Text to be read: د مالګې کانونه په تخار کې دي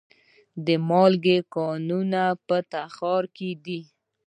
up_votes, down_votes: 0, 2